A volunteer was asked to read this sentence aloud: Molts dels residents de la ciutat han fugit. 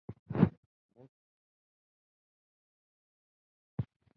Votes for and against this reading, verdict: 0, 4, rejected